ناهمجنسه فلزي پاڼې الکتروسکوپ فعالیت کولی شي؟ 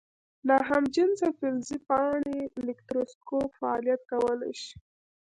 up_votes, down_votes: 0, 2